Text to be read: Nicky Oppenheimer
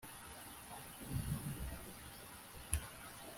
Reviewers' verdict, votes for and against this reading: rejected, 0, 3